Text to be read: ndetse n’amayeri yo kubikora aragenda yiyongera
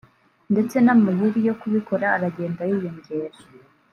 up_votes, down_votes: 0, 2